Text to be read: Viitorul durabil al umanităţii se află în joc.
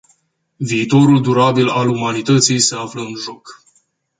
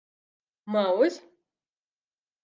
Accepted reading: first